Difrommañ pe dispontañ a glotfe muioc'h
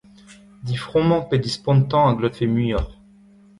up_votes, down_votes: 2, 1